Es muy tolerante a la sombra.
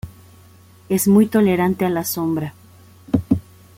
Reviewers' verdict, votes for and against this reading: accepted, 2, 0